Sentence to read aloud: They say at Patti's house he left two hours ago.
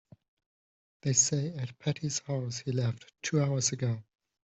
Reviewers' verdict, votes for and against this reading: accepted, 2, 0